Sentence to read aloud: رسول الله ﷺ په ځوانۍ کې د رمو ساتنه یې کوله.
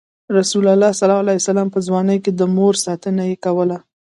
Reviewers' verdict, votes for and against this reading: rejected, 1, 2